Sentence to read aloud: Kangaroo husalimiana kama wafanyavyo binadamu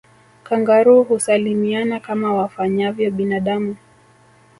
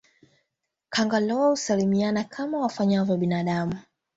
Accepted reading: second